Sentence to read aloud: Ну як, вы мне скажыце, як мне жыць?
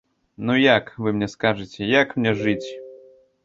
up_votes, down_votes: 2, 0